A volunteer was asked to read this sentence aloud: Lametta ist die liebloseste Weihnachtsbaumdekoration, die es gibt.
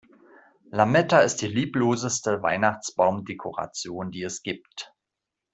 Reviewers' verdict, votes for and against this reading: accepted, 2, 0